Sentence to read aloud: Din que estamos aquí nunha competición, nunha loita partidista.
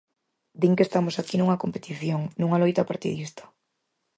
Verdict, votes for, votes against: accepted, 4, 0